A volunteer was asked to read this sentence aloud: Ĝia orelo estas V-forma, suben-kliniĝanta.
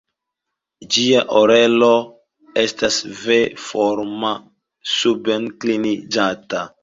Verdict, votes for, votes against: rejected, 1, 2